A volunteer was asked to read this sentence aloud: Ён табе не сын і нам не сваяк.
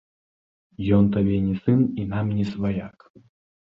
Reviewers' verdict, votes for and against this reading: rejected, 1, 2